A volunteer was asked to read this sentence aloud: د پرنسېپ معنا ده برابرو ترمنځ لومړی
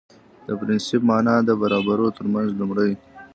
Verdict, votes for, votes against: rejected, 0, 2